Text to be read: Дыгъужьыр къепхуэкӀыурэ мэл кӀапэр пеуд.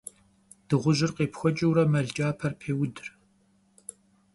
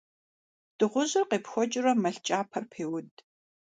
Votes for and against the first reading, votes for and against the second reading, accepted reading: 1, 2, 2, 0, second